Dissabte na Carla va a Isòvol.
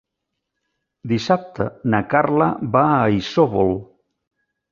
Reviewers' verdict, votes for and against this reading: accepted, 4, 0